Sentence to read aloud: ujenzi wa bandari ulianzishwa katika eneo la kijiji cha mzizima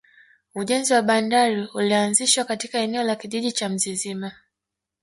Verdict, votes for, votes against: rejected, 1, 2